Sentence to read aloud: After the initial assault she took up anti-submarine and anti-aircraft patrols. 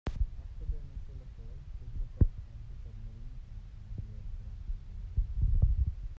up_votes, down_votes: 0, 2